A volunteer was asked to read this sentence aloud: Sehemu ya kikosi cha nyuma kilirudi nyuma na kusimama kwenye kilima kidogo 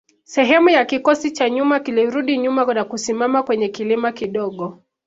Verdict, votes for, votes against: accepted, 2, 0